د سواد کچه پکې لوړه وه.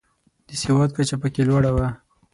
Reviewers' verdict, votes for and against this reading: accepted, 6, 0